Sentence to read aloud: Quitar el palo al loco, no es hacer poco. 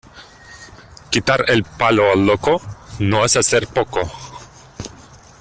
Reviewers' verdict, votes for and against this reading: accepted, 2, 0